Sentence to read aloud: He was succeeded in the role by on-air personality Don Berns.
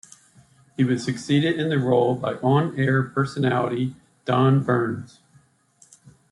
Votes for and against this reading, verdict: 2, 0, accepted